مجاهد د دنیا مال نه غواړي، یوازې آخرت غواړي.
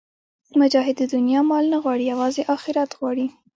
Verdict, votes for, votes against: rejected, 0, 2